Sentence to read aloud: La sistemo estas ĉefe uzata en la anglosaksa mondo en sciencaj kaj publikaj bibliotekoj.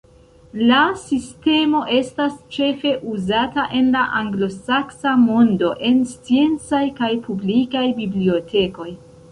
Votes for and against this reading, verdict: 1, 2, rejected